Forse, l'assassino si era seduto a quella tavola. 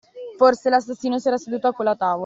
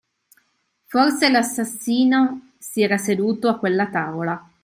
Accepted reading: second